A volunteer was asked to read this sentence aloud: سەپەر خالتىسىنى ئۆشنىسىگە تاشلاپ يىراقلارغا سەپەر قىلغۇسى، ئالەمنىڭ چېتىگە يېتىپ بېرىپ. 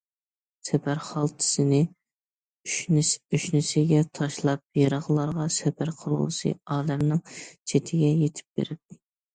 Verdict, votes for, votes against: rejected, 1, 2